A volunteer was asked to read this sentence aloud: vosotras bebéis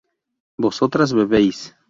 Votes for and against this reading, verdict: 2, 0, accepted